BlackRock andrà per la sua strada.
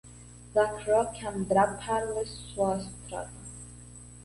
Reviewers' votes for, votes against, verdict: 0, 2, rejected